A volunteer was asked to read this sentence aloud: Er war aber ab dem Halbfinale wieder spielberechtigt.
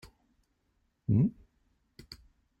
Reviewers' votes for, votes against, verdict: 0, 2, rejected